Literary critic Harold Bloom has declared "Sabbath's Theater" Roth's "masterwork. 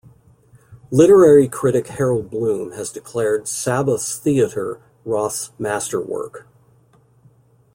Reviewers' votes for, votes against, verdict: 2, 0, accepted